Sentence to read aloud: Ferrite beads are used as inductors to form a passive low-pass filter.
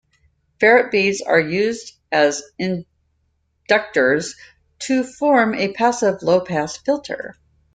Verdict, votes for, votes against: rejected, 1, 2